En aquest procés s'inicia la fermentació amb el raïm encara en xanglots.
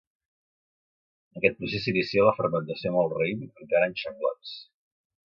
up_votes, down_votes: 1, 2